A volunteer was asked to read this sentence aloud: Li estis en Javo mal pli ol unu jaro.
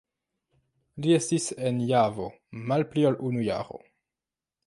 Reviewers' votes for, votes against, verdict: 2, 1, accepted